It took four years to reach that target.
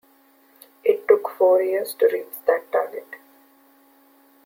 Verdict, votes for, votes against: accepted, 2, 0